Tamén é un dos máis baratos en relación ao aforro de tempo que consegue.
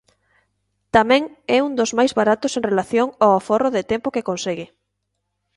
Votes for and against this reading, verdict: 2, 0, accepted